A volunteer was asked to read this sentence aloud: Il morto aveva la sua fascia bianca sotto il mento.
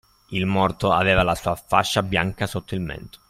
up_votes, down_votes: 2, 0